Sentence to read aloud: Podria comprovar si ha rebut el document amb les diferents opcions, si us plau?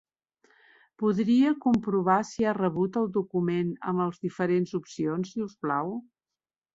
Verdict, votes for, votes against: rejected, 1, 2